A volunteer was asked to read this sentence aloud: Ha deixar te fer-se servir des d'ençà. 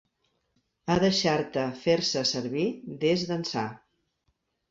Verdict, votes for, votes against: accepted, 2, 0